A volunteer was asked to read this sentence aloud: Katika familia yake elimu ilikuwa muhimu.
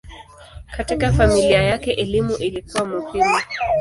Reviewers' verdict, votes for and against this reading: accepted, 2, 0